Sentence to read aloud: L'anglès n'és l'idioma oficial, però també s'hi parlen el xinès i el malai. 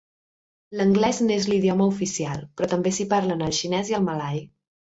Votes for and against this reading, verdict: 2, 0, accepted